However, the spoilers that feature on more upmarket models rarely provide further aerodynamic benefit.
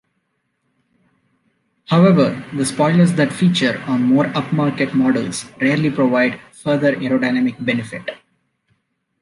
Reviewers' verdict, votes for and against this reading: accepted, 2, 0